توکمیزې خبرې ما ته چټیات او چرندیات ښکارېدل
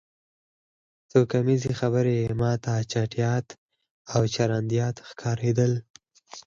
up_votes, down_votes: 4, 0